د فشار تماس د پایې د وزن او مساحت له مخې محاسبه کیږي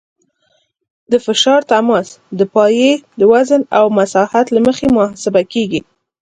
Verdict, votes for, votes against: accepted, 3, 0